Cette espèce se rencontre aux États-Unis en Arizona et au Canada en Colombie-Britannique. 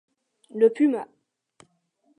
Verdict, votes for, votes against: rejected, 0, 2